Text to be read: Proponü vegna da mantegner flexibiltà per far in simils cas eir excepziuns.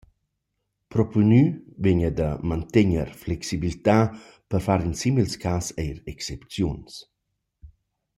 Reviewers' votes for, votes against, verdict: 2, 0, accepted